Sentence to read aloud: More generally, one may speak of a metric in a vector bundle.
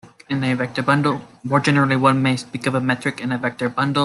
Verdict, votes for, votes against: rejected, 0, 2